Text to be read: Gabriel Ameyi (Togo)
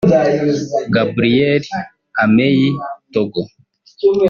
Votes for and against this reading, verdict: 0, 2, rejected